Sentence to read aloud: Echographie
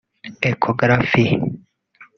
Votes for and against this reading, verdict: 0, 2, rejected